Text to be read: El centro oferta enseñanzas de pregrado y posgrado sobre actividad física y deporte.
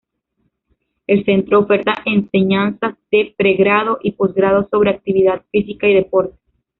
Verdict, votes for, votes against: rejected, 1, 2